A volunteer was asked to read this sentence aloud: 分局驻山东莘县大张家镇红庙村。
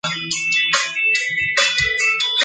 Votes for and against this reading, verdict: 0, 3, rejected